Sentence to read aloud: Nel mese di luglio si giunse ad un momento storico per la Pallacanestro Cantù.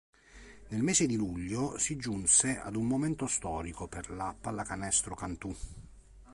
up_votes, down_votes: 2, 0